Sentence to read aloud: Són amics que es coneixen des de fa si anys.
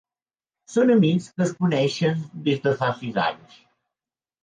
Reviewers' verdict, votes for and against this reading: rejected, 1, 2